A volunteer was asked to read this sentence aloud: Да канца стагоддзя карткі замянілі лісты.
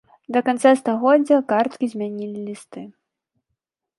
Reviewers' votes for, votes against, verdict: 1, 2, rejected